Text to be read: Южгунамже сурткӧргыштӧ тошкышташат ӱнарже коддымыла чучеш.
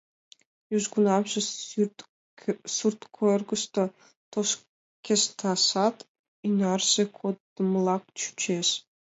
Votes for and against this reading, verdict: 1, 2, rejected